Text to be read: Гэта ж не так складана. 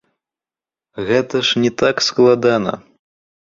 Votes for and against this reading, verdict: 1, 3, rejected